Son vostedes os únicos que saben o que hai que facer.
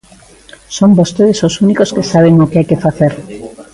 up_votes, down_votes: 2, 1